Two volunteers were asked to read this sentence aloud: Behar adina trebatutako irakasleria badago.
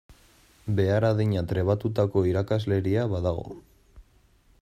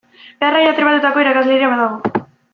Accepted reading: first